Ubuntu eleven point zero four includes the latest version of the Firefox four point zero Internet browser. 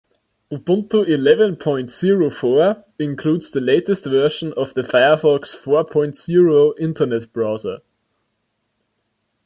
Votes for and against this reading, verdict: 0, 2, rejected